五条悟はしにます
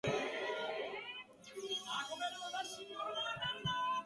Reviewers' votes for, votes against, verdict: 0, 2, rejected